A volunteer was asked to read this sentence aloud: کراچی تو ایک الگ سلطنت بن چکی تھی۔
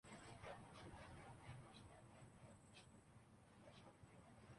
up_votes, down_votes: 0, 2